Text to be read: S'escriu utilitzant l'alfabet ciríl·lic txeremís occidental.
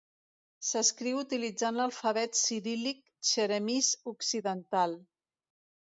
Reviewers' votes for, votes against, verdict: 2, 0, accepted